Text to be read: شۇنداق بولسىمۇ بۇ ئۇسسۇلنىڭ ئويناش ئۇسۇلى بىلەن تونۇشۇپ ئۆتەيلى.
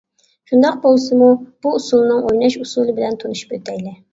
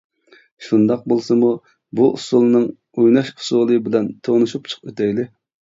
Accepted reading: first